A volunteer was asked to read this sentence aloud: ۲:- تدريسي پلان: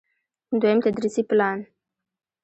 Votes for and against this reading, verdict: 0, 2, rejected